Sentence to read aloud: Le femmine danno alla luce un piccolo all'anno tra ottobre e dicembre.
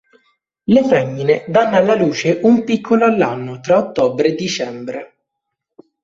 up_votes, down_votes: 2, 0